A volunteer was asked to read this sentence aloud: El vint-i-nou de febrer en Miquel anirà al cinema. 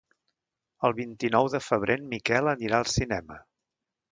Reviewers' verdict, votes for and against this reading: accepted, 2, 0